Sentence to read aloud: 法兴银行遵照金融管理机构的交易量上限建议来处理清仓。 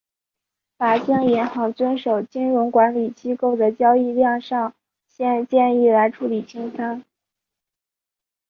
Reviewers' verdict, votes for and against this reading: rejected, 2, 3